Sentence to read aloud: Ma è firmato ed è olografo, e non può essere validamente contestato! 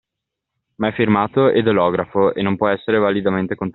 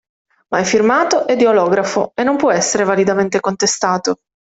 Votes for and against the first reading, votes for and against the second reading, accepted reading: 0, 2, 2, 0, second